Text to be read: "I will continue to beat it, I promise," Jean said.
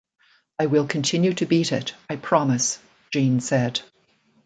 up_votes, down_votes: 0, 2